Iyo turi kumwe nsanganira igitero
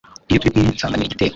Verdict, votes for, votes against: rejected, 0, 2